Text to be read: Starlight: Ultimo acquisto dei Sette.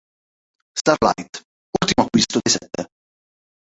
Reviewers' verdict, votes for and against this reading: rejected, 0, 3